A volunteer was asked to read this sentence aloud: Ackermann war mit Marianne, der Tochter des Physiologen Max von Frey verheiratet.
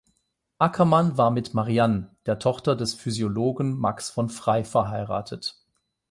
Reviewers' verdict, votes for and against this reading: rejected, 0, 8